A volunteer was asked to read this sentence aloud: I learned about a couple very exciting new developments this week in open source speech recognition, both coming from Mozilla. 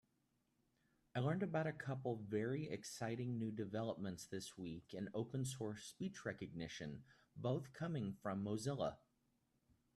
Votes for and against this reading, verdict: 3, 0, accepted